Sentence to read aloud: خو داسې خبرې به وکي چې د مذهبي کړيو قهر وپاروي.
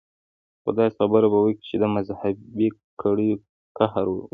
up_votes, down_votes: 2, 1